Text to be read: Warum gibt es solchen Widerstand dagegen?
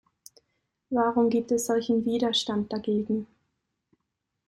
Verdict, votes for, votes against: accepted, 2, 0